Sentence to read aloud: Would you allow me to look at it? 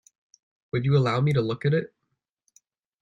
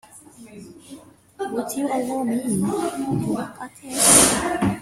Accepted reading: first